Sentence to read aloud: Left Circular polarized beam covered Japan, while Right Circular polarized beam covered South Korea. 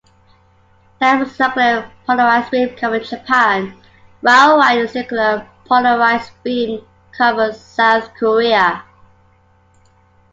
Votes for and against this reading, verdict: 1, 2, rejected